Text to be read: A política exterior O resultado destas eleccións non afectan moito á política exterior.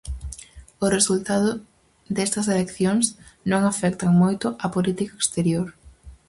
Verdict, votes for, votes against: rejected, 0, 2